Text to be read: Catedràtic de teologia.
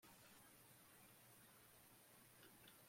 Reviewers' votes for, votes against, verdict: 0, 2, rejected